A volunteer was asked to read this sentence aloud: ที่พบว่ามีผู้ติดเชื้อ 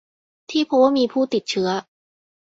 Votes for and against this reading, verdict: 0, 2, rejected